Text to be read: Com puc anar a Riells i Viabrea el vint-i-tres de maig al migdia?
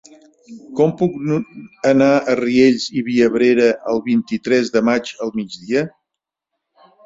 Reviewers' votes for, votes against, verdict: 0, 3, rejected